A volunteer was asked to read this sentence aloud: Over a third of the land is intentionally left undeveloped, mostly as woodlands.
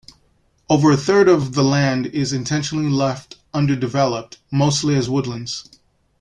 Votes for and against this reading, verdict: 1, 2, rejected